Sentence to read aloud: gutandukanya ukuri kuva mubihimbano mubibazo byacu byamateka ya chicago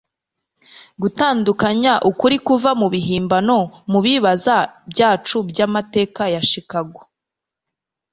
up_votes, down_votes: 0, 2